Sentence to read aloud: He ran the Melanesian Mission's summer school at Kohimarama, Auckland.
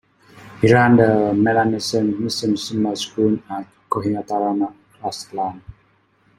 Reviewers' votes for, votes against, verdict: 0, 2, rejected